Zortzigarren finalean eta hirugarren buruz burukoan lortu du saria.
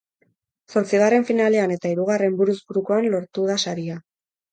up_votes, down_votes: 2, 4